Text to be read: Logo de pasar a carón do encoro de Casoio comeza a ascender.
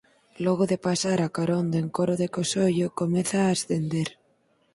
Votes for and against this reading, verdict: 4, 6, rejected